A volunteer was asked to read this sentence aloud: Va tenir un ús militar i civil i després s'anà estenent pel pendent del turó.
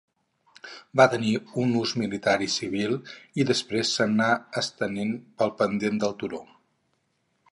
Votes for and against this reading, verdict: 2, 2, rejected